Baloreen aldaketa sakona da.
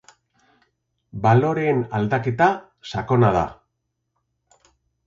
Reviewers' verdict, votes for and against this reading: accepted, 2, 0